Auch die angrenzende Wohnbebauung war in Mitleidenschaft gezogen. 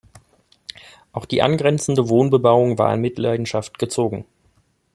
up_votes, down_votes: 2, 0